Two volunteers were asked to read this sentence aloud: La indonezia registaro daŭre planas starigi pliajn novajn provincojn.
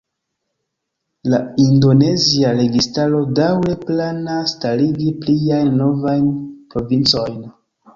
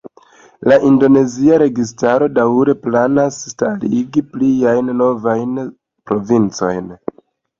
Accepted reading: second